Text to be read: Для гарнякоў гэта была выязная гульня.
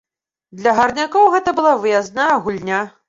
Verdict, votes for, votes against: accepted, 2, 0